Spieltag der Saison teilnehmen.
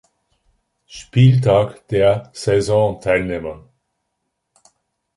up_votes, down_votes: 2, 0